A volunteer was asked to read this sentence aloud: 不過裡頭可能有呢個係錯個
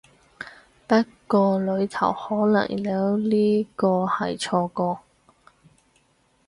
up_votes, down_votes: 2, 0